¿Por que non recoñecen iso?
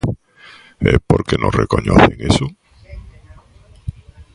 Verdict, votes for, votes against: rejected, 0, 2